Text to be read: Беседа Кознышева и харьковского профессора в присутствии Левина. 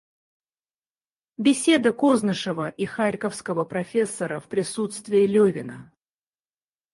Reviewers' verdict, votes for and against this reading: rejected, 2, 4